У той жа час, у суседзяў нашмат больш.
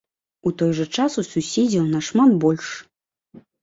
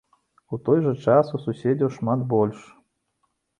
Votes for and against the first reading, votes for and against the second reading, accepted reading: 2, 0, 0, 2, first